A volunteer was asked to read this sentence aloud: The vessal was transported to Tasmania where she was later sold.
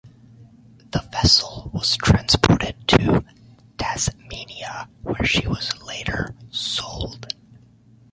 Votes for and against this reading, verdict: 1, 2, rejected